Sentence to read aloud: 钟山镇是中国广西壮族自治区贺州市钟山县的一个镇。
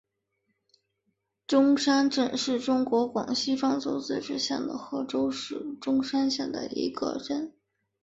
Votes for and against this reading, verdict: 0, 2, rejected